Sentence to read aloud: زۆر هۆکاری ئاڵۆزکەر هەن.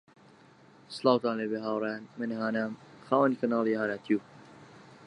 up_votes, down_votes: 0, 3